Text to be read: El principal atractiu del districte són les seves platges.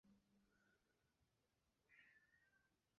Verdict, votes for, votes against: rejected, 0, 2